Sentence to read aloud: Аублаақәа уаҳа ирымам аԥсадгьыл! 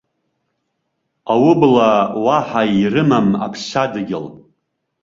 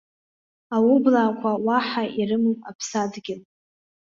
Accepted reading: second